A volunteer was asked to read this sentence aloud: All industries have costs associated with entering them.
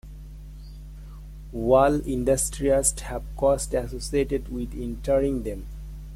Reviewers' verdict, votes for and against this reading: rejected, 1, 2